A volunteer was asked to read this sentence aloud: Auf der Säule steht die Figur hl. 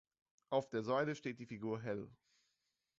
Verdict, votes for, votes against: rejected, 0, 2